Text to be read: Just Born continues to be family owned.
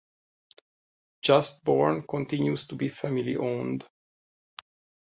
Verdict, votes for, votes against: accepted, 2, 0